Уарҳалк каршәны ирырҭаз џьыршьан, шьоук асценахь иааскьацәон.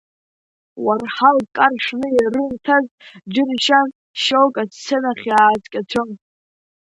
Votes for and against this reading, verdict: 0, 2, rejected